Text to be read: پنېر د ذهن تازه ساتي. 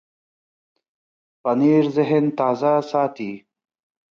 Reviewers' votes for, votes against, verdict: 1, 2, rejected